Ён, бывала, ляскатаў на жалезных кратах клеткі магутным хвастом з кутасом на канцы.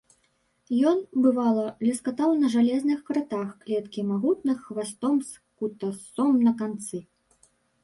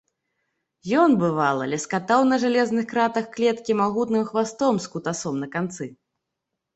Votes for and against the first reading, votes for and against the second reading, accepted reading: 0, 2, 2, 0, second